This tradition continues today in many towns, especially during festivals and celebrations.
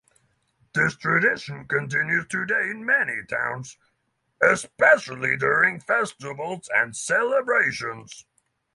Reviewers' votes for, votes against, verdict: 6, 0, accepted